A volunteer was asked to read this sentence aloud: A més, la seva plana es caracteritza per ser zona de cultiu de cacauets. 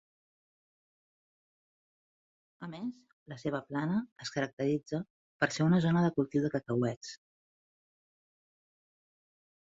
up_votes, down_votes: 1, 2